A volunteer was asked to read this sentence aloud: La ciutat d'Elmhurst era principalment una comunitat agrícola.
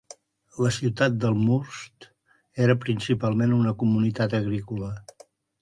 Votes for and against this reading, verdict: 2, 0, accepted